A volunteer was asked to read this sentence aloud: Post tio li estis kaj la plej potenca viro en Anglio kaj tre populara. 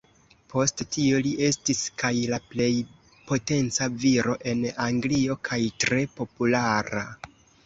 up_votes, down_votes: 2, 0